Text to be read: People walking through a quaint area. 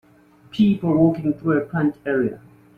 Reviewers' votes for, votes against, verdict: 0, 2, rejected